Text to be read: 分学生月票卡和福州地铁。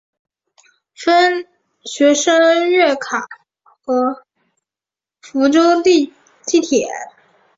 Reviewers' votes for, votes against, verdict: 0, 2, rejected